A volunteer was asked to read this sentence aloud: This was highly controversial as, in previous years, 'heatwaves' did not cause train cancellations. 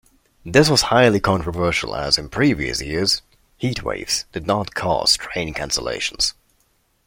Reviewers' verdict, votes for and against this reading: accepted, 2, 0